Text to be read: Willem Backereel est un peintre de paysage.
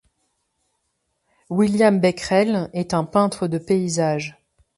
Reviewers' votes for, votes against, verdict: 1, 2, rejected